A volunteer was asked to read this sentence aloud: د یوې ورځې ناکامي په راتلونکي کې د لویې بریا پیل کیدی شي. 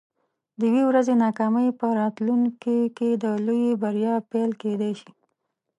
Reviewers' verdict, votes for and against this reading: rejected, 1, 2